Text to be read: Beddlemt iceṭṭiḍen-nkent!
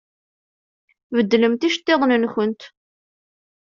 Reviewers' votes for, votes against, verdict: 2, 0, accepted